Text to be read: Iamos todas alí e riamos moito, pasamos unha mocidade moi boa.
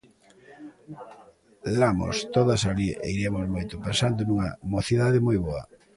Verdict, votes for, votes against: rejected, 0, 2